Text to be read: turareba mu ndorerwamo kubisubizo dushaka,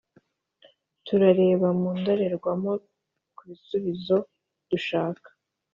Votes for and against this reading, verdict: 2, 0, accepted